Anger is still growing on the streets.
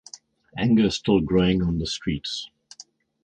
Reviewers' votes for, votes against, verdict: 4, 0, accepted